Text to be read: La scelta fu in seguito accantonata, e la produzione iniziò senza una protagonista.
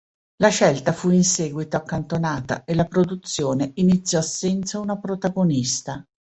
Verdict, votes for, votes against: accepted, 2, 0